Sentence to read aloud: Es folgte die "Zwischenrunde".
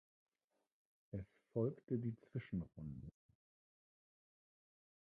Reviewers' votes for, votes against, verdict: 0, 2, rejected